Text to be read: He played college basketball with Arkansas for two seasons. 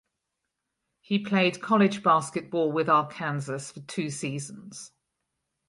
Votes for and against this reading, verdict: 2, 4, rejected